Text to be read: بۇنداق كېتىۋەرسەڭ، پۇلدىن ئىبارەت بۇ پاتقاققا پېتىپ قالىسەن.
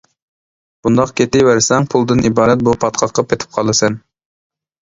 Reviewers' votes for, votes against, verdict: 3, 0, accepted